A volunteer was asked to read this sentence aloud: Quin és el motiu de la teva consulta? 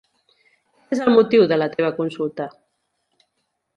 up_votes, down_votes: 0, 2